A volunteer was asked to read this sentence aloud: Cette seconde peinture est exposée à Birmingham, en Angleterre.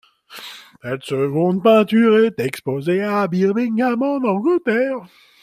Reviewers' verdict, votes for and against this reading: accepted, 2, 1